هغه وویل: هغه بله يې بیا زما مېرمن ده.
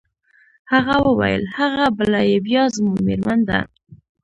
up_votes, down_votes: 1, 2